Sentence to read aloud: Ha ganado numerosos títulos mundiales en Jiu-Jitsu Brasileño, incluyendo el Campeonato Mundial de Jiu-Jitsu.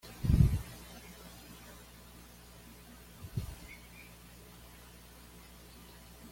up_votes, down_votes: 1, 2